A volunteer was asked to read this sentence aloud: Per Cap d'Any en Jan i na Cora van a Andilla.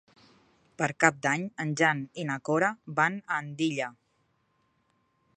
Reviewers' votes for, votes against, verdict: 3, 0, accepted